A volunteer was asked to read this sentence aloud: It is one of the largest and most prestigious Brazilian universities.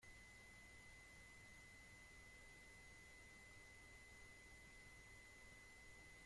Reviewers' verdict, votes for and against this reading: rejected, 0, 2